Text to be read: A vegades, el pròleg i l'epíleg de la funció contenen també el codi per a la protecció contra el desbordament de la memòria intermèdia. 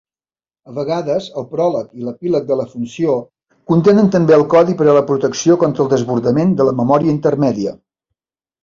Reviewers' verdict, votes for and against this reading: accepted, 3, 0